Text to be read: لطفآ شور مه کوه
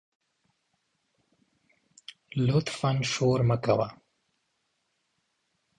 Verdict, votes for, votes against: accepted, 2, 1